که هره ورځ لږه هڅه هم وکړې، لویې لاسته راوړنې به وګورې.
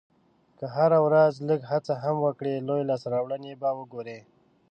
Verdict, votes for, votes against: accepted, 2, 0